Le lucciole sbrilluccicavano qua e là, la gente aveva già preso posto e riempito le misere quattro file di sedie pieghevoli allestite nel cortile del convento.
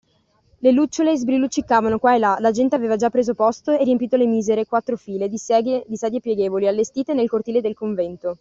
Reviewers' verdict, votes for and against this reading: rejected, 1, 2